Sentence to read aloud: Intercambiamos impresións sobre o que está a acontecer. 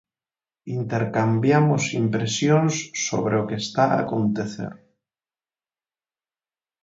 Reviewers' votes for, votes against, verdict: 4, 0, accepted